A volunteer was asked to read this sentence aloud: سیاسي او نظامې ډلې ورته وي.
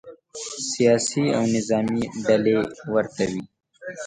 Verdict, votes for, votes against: accepted, 2, 0